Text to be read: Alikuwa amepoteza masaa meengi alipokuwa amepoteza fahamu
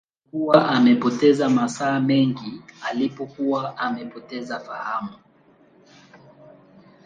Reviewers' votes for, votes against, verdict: 1, 2, rejected